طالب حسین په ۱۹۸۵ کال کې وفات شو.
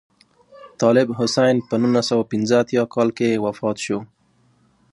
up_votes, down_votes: 0, 2